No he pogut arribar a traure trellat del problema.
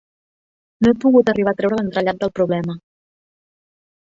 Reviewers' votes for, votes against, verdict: 2, 4, rejected